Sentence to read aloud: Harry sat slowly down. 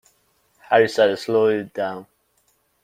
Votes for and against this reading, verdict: 2, 1, accepted